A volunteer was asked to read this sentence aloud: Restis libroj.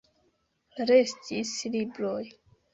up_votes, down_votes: 1, 2